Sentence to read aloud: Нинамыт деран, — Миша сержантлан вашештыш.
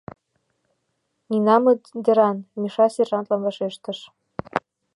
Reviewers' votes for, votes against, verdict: 2, 0, accepted